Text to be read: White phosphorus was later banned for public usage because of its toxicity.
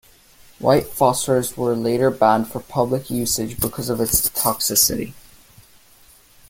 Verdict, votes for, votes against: rejected, 0, 2